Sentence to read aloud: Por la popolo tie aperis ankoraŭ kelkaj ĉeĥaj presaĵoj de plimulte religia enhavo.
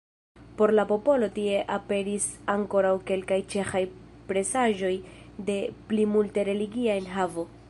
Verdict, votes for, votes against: accepted, 2, 1